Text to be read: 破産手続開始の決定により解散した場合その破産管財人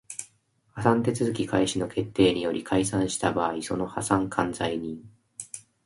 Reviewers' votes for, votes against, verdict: 2, 0, accepted